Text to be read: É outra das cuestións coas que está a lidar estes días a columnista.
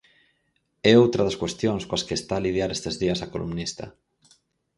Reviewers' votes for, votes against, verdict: 0, 4, rejected